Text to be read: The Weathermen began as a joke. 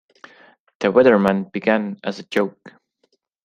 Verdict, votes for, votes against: rejected, 0, 2